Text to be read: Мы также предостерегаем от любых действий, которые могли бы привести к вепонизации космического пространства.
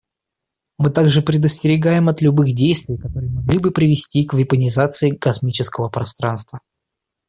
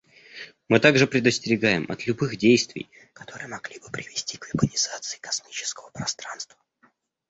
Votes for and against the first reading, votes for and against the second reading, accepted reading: 2, 0, 1, 2, first